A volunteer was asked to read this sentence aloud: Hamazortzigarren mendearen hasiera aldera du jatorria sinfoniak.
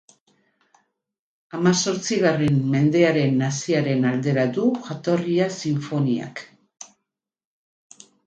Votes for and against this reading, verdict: 0, 4, rejected